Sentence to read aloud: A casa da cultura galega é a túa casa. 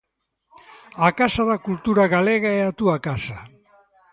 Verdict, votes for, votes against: rejected, 0, 2